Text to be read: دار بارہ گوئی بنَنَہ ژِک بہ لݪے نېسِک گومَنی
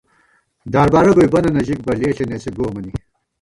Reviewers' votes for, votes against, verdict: 1, 2, rejected